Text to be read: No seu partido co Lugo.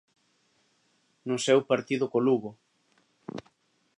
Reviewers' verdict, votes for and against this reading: accepted, 3, 0